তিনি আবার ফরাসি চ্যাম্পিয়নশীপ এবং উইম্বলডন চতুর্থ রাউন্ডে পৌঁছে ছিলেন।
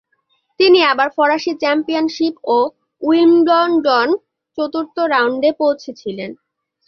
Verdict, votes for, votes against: rejected, 1, 2